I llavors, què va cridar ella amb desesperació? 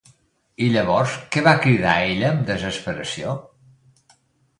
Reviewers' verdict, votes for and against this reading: accepted, 2, 0